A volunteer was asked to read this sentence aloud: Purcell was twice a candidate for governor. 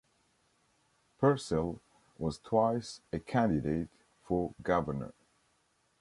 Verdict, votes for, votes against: accepted, 2, 0